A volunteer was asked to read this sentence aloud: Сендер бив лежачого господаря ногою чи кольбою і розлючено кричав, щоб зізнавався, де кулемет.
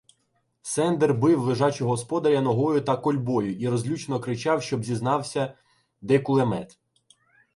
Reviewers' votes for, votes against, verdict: 0, 2, rejected